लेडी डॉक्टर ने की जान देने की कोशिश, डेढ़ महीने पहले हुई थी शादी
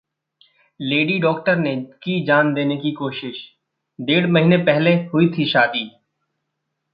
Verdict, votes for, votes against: rejected, 1, 2